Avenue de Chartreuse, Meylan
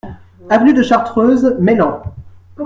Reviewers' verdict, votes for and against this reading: accepted, 2, 0